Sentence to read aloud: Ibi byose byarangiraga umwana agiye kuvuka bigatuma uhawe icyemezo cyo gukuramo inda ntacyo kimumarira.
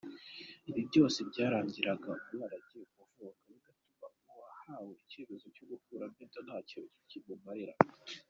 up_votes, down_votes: 0, 2